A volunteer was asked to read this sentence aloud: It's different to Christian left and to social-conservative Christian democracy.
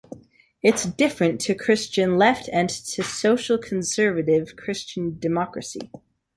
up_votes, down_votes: 3, 0